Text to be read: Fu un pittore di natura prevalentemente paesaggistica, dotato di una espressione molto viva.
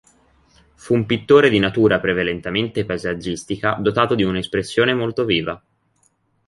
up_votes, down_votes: 1, 2